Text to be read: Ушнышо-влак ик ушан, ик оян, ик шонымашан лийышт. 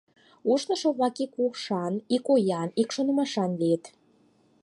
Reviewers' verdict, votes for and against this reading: accepted, 4, 2